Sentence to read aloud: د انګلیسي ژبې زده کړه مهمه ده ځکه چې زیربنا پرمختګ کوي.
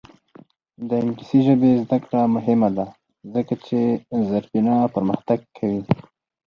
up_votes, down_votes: 4, 2